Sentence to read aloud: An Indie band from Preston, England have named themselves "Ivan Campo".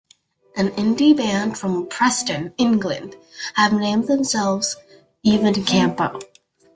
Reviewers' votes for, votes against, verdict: 2, 0, accepted